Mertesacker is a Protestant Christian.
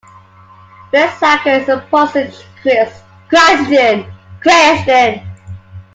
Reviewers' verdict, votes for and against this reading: rejected, 0, 2